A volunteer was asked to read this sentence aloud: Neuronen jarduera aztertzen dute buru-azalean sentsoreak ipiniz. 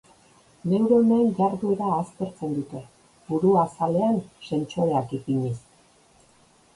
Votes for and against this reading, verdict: 2, 0, accepted